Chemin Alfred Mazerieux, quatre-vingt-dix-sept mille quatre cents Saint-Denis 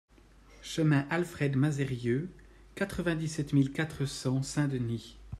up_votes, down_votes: 2, 0